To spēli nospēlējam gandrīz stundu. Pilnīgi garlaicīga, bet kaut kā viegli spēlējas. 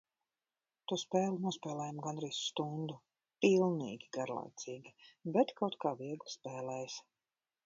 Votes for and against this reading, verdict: 1, 2, rejected